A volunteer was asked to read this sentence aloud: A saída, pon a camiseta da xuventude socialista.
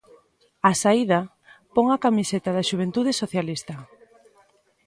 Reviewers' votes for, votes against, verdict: 0, 2, rejected